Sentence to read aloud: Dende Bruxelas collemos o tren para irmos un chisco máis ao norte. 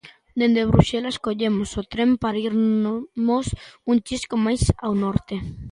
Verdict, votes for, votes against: rejected, 0, 2